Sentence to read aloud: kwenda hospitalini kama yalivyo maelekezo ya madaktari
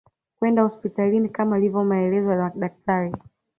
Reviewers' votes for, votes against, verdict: 2, 0, accepted